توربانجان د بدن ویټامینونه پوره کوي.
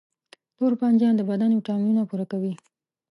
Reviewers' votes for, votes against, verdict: 2, 0, accepted